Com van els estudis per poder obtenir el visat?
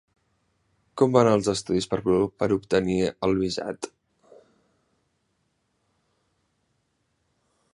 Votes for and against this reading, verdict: 1, 2, rejected